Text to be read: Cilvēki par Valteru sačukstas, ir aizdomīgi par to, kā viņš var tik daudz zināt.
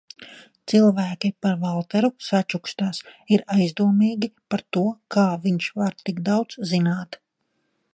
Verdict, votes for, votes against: accepted, 2, 0